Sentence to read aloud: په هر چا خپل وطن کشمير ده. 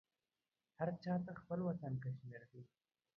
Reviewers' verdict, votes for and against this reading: rejected, 0, 2